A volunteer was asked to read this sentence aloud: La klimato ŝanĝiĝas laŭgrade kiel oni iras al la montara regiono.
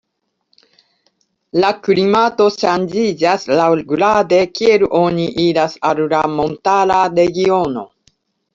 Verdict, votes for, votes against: rejected, 1, 2